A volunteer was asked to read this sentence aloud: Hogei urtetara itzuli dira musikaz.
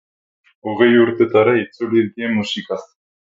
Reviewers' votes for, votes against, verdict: 0, 6, rejected